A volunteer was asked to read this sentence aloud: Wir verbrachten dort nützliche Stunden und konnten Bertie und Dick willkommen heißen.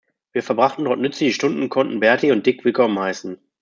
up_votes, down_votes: 2, 0